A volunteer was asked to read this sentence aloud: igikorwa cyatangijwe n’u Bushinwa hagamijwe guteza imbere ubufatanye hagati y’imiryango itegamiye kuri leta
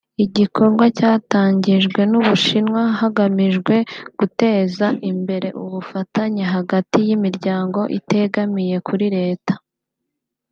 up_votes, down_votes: 2, 0